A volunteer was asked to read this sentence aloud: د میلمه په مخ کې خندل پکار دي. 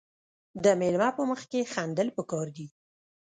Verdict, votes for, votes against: rejected, 0, 2